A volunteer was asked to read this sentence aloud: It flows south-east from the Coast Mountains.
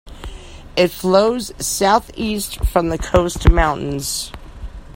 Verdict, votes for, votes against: accepted, 2, 0